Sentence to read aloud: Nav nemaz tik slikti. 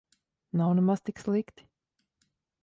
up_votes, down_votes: 2, 0